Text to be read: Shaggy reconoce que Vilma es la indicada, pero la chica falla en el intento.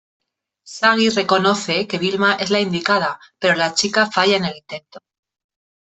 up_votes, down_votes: 0, 2